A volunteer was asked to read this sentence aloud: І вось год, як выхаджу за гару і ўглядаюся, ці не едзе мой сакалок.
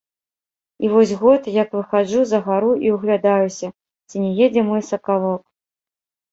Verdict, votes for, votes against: rejected, 1, 2